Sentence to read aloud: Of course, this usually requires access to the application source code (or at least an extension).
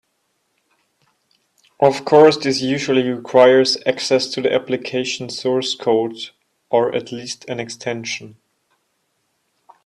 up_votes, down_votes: 2, 0